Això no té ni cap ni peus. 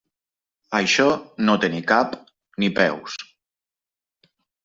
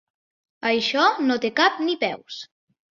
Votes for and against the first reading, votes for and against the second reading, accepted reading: 2, 0, 0, 2, first